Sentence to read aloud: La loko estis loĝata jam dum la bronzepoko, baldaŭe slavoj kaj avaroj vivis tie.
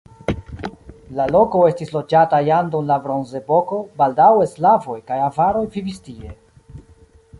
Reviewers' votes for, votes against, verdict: 1, 2, rejected